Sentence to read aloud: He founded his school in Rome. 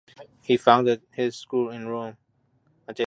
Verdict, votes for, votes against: rejected, 0, 2